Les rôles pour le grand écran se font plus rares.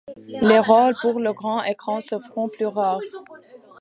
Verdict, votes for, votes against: rejected, 1, 2